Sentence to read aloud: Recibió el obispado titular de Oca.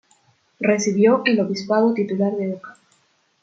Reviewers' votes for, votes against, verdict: 2, 0, accepted